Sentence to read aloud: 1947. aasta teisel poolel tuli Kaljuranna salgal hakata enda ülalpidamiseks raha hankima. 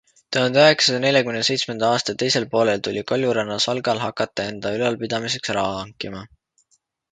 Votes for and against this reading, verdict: 0, 2, rejected